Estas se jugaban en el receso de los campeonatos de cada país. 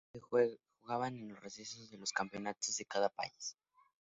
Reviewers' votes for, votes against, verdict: 0, 2, rejected